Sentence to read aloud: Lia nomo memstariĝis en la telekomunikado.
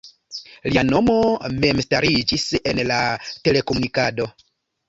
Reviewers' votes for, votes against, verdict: 2, 0, accepted